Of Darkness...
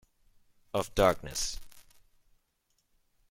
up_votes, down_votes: 1, 2